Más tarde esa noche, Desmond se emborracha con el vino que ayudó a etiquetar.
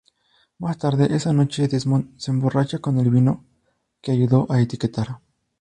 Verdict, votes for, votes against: rejected, 0, 2